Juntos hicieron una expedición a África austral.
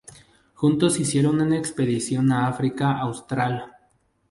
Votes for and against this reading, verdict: 2, 0, accepted